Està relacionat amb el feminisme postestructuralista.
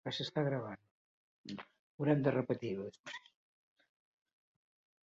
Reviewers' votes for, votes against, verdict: 1, 2, rejected